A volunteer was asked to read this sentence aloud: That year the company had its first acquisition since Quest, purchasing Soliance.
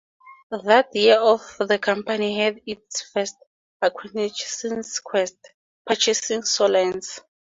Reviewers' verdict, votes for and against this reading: accepted, 4, 0